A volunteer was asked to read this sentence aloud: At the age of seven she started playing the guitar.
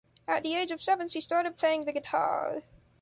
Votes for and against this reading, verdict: 3, 0, accepted